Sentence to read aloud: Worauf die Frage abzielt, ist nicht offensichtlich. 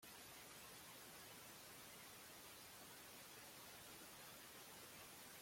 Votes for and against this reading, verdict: 0, 2, rejected